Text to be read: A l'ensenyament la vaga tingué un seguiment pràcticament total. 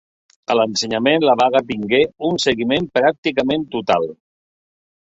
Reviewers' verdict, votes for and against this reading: accepted, 2, 0